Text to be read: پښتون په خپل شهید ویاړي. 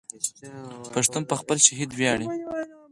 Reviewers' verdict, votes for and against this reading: accepted, 4, 0